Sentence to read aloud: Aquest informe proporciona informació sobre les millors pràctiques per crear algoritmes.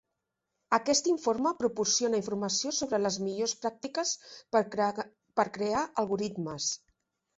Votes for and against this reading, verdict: 0, 2, rejected